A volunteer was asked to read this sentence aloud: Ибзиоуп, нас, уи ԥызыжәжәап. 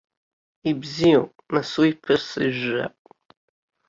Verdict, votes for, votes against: rejected, 1, 2